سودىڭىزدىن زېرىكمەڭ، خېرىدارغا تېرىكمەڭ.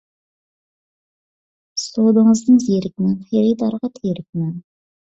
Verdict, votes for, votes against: rejected, 1, 2